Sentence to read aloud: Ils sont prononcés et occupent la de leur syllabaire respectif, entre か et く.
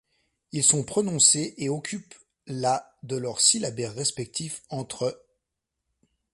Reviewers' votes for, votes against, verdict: 0, 2, rejected